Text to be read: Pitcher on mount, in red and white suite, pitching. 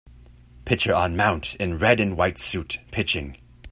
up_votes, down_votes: 2, 0